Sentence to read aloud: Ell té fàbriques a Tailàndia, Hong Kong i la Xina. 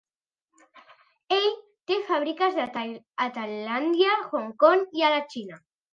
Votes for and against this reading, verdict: 1, 2, rejected